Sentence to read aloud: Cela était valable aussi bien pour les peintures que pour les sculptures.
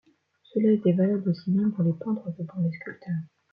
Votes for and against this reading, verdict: 1, 2, rejected